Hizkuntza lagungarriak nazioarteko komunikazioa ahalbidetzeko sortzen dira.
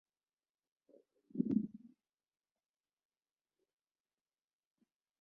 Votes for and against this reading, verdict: 0, 2, rejected